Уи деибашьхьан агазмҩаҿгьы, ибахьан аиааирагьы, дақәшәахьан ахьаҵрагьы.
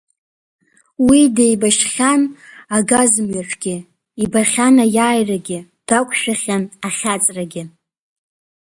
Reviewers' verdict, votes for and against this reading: accepted, 2, 1